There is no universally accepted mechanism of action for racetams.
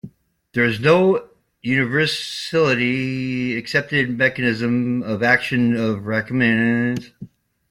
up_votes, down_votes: 0, 2